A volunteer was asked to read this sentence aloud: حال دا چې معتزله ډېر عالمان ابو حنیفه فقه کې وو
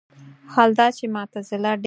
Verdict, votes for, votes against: rejected, 0, 4